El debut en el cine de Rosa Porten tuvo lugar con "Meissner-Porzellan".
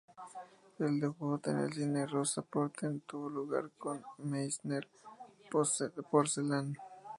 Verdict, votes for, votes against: rejected, 0, 2